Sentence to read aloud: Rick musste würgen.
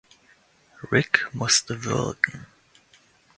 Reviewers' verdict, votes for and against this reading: accepted, 2, 0